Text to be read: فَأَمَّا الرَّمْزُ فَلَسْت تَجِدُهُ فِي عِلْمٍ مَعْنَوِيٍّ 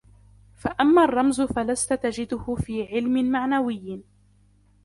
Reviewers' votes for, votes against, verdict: 2, 0, accepted